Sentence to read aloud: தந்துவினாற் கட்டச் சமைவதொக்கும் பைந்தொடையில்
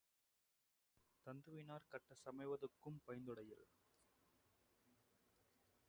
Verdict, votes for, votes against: rejected, 0, 2